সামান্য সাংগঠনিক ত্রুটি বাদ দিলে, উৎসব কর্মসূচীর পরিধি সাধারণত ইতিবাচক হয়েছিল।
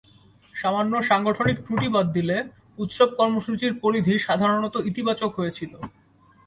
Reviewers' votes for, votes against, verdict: 2, 0, accepted